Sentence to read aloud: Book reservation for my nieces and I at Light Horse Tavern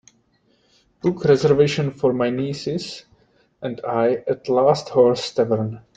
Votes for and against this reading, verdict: 2, 4, rejected